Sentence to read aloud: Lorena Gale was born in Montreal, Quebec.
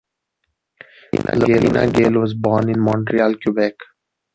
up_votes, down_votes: 1, 2